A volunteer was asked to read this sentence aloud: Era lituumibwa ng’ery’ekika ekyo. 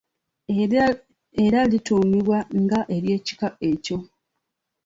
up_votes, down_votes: 0, 3